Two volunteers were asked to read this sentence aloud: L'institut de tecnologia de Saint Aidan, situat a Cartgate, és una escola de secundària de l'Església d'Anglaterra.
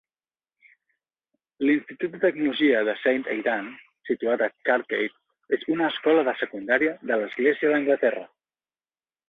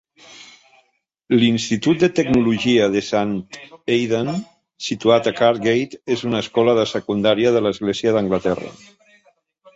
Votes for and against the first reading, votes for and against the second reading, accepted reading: 3, 0, 1, 2, first